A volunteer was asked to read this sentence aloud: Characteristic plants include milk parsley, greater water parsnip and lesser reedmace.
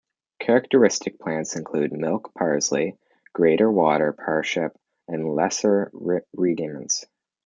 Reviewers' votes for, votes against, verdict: 0, 2, rejected